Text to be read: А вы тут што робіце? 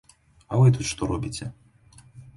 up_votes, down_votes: 2, 0